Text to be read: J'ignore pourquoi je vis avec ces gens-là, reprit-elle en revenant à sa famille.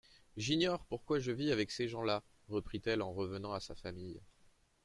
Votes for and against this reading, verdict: 2, 0, accepted